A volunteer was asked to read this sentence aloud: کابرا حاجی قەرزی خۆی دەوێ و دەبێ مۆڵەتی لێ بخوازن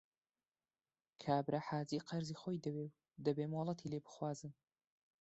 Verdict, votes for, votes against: accepted, 2, 0